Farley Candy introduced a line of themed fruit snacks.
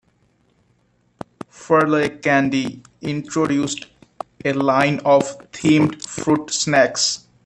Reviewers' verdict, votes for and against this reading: rejected, 0, 2